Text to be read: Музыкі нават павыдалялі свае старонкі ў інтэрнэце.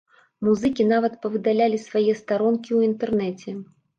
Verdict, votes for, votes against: accepted, 2, 0